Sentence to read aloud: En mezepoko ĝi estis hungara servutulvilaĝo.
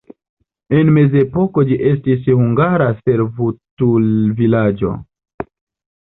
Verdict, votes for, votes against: accepted, 2, 1